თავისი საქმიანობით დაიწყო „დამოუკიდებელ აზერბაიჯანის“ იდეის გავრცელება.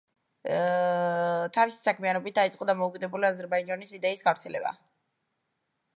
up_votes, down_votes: 1, 2